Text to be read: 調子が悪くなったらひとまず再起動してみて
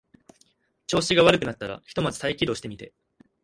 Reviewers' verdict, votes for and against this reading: accepted, 3, 0